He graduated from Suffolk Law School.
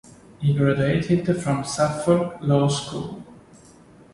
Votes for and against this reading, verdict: 2, 0, accepted